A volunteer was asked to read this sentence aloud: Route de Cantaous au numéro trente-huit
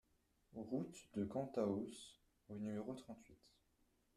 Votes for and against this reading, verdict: 2, 1, accepted